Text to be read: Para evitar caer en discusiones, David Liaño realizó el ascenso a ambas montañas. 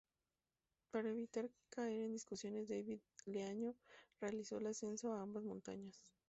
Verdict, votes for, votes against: rejected, 0, 2